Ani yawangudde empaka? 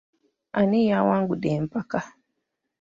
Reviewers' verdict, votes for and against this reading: accepted, 2, 0